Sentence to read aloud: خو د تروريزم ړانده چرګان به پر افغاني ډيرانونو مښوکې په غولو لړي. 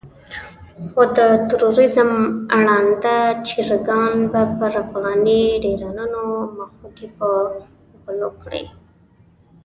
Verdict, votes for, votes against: accepted, 2, 0